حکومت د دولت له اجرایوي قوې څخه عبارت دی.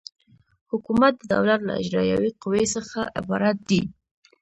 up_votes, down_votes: 2, 0